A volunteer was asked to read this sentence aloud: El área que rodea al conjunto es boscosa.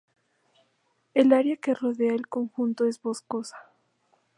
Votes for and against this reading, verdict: 2, 0, accepted